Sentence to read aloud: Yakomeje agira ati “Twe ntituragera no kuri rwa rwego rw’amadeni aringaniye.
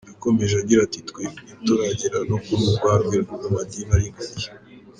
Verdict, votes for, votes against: rejected, 0, 2